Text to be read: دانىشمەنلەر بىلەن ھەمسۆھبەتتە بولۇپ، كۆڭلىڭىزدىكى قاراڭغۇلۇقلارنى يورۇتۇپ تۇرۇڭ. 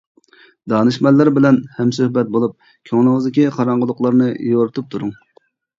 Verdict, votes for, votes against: rejected, 0, 2